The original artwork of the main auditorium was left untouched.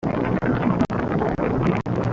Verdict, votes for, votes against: rejected, 0, 2